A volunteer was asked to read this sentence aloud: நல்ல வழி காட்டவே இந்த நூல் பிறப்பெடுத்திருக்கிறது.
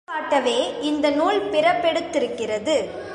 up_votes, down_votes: 0, 2